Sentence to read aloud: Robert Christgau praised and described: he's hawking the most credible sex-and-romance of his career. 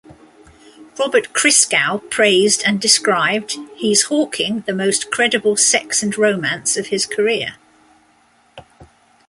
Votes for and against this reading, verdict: 2, 0, accepted